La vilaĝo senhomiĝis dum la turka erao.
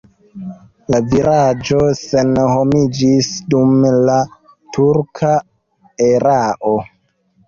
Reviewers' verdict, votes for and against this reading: rejected, 0, 2